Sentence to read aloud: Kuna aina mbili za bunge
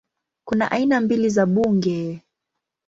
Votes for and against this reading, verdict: 2, 0, accepted